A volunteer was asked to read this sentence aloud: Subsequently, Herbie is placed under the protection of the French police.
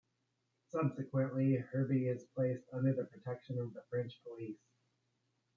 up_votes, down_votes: 1, 2